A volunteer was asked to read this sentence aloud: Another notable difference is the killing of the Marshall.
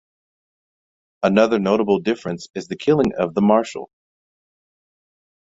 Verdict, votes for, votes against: accepted, 2, 0